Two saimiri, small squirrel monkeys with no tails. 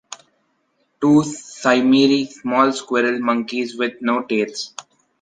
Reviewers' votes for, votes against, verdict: 2, 0, accepted